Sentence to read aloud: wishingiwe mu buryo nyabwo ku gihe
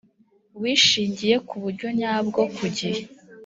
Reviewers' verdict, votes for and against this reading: accepted, 2, 1